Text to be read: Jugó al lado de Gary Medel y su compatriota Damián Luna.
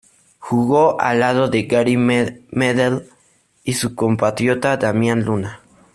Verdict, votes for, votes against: accepted, 2, 0